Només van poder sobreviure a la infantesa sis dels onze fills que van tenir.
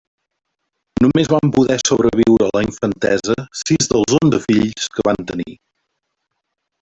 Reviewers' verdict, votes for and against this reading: rejected, 0, 2